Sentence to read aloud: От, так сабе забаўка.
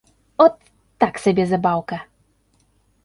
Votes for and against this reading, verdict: 2, 0, accepted